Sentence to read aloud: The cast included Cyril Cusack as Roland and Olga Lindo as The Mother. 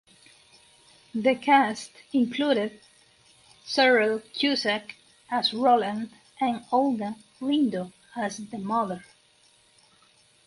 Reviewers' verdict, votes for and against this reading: accepted, 4, 0